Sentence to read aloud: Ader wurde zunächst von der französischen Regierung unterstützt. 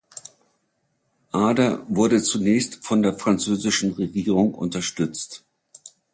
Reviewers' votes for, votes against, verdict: 2, 1, accepted